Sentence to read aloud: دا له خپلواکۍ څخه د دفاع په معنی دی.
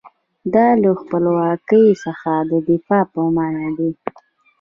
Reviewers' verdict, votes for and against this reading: accepted, 2, 0